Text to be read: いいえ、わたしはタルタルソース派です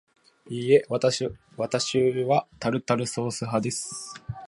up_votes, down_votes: 1, 2